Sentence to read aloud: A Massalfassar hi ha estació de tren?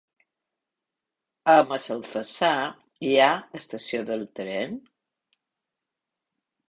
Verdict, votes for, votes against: rejected, 0, 2